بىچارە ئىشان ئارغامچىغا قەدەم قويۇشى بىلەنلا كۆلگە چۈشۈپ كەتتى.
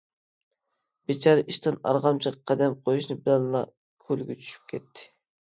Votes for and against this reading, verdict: 0, 2, rejected